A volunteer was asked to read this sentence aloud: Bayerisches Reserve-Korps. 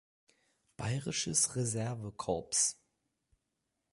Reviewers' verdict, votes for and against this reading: rejected, 2, 4